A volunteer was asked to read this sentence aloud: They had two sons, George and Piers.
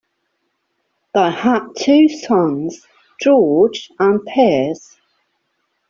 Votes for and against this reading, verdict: 2, 1, accepted